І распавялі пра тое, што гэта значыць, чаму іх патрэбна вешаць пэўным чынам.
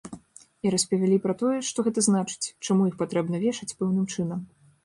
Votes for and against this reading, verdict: 2, 0, accepted